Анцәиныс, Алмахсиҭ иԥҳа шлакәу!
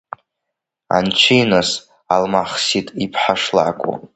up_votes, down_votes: 2, 0